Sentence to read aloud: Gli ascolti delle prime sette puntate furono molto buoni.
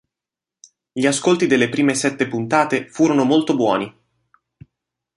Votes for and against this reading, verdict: 2, 1, accepted